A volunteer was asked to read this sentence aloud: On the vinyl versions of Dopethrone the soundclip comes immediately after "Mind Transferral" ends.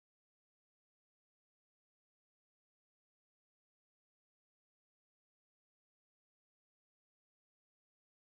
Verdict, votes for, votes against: rejected, 0, 2